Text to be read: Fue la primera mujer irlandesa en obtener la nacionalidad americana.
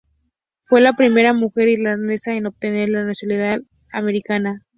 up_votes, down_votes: 2, 0